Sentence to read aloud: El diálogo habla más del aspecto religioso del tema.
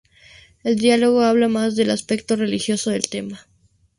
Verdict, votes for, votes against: rejected, 0, 2